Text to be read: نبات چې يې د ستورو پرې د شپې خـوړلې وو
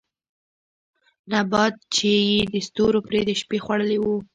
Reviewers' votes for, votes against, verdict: 0, 2, rejected